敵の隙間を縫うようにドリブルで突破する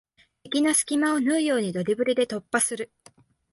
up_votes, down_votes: 2, 0